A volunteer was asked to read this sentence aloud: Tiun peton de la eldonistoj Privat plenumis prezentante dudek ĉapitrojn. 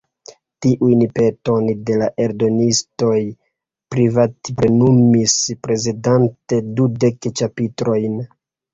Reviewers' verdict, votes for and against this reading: rejected, 1, 2